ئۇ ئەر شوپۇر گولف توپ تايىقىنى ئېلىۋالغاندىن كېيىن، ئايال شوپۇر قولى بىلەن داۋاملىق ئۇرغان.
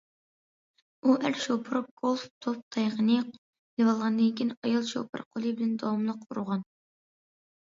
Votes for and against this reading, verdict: 2, 1, accepted